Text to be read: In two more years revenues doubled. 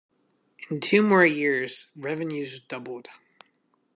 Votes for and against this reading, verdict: 2, 0, accepted